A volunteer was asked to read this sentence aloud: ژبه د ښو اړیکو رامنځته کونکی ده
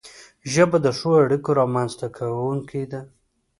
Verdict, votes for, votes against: accepted, 2, 0